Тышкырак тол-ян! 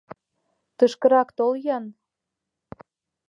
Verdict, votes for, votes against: accepted, 2, 0